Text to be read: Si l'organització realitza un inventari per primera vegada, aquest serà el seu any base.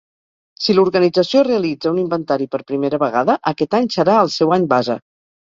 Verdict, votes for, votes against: rejected, 0, 4